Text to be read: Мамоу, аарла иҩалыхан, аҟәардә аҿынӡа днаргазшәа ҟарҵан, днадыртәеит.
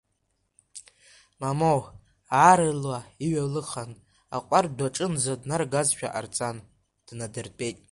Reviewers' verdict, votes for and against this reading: accepted, 2, 0